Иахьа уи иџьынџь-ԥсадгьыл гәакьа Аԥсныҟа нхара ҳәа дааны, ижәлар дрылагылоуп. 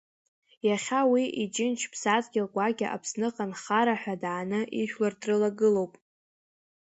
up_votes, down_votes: 2, 0